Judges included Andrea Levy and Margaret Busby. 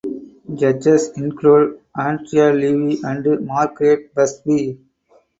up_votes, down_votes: 2, 4